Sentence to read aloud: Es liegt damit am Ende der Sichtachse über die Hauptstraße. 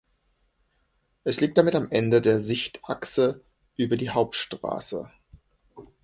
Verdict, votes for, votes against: accepted, 2, 0